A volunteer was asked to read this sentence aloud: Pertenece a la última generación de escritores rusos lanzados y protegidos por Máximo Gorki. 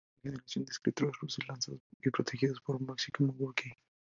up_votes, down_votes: 0, 4